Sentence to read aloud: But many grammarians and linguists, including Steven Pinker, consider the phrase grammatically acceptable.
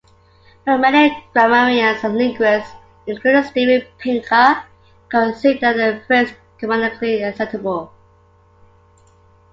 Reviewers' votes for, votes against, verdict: 3, 0, accepted